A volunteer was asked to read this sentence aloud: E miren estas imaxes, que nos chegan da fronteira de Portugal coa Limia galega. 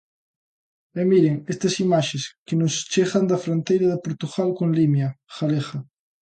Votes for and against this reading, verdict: 0, 2, rejected